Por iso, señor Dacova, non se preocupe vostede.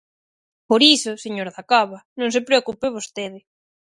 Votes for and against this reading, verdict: 6, 0, accepted